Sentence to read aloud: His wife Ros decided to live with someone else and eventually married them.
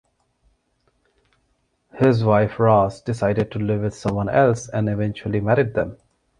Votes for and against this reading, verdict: 2, 0, accepted